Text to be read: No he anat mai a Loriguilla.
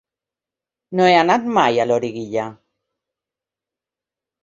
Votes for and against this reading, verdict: 3, 0, accepted